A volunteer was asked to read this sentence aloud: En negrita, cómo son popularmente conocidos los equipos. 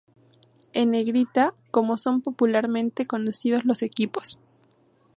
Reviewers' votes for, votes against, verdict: 0, 2, rejected